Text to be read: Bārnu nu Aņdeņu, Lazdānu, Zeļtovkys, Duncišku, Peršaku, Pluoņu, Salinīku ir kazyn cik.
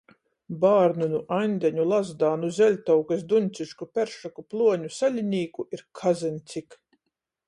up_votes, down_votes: 14, 0